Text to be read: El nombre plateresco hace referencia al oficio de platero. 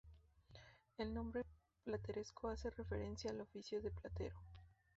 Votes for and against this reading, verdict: 2, 0, accepted